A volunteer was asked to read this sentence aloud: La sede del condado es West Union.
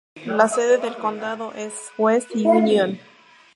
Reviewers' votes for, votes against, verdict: 2, 2, rejected